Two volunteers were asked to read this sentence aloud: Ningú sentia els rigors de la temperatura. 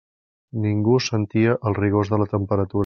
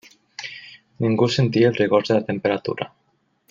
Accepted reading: second